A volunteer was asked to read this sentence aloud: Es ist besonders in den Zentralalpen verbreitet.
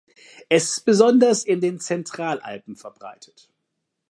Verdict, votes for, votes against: rejected, 1, 2